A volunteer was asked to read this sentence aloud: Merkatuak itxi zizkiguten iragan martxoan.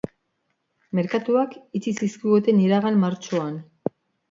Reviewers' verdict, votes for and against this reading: accepted, 2, 0